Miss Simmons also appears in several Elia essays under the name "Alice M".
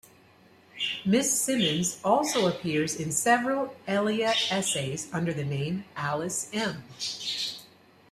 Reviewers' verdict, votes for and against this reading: accepted, 2, 0